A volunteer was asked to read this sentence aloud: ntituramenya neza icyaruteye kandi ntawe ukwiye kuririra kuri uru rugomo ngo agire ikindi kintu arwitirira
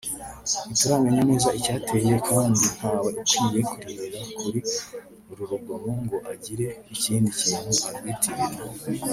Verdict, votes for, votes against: rejected, 1, 2